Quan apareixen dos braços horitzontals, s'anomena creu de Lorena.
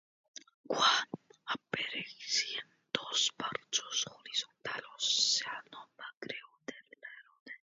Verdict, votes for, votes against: rejected, 0, 2